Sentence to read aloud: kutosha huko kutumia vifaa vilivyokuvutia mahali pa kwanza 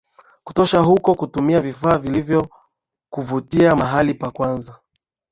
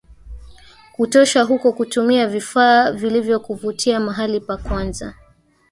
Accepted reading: first